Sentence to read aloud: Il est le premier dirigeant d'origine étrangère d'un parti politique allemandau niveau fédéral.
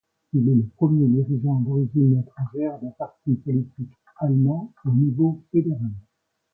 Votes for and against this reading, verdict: 1, 2, rejected